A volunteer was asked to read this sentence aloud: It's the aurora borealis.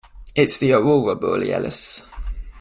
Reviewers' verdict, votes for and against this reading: accepted, 2, 1